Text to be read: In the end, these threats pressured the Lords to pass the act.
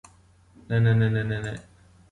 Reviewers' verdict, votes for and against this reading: rejected, 0, 2